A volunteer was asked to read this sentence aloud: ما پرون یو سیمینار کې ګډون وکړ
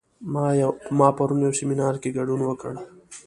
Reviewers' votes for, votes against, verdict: 2, 0, accepted